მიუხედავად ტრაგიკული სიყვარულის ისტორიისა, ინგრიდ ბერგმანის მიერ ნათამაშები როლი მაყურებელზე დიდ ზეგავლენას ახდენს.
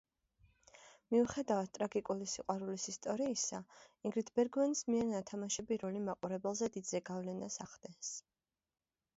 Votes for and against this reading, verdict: 2, 0, accepted